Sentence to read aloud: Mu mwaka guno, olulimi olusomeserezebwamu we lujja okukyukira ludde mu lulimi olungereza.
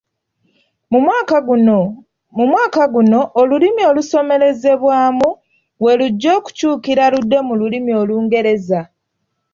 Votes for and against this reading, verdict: 0, 2, rejected